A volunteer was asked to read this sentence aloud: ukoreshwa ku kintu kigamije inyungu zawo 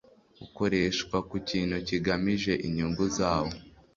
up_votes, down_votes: 2, 0